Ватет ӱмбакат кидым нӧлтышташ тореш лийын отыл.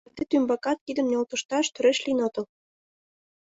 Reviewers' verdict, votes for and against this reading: rejected, 1, 2